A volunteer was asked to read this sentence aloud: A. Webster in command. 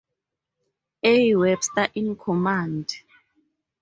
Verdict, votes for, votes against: accepted, 2, 0